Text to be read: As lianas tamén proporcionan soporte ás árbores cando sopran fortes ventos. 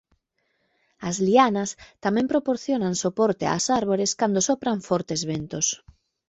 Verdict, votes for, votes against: accepted, 2, 0